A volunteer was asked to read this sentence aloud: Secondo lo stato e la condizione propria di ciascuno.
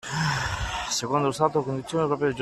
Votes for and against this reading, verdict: 0, 2, rejected